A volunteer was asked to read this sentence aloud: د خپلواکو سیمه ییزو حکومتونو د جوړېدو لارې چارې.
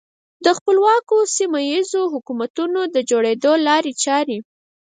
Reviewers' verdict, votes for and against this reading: rejected, 2, 4